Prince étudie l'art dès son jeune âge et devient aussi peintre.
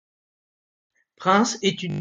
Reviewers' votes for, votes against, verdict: 0, 2, rejected